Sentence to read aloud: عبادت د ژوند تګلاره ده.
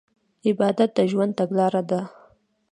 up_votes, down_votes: 2, 0